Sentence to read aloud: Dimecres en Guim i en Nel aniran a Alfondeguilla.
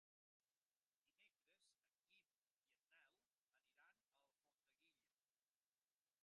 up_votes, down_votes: 0, 2